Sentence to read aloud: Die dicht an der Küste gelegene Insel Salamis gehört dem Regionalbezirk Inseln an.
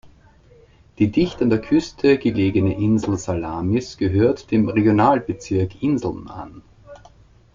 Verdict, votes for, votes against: rejected, 0, 2